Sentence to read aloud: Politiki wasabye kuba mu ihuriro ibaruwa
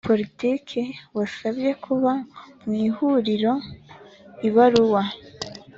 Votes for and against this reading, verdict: 2, 0, accepted